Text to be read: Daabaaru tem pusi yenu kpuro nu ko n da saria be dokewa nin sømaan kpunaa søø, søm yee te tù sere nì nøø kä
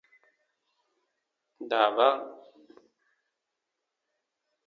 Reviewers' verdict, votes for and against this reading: rejected, 0, 3